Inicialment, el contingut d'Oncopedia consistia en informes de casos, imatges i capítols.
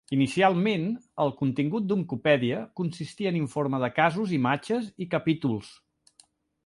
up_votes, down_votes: 2, 0